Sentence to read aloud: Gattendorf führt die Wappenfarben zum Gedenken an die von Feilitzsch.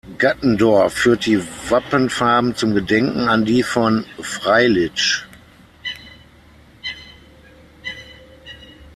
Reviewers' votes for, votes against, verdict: 3, 6, rejected